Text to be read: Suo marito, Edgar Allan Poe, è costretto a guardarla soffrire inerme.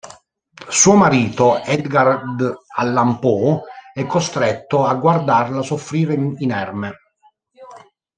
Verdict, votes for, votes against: rejected, 1, 2